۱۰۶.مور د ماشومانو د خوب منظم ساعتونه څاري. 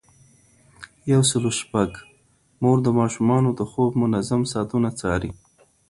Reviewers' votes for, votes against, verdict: 0, 2, rejected